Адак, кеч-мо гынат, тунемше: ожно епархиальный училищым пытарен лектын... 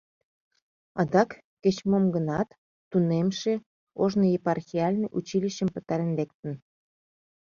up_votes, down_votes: 0, 2